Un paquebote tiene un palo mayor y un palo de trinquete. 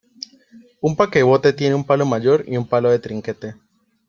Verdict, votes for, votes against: accepted, 2, 0